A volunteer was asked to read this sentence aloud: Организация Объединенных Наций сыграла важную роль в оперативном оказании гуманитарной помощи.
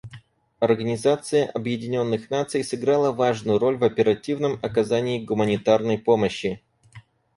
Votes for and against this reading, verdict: 4, 0, accepted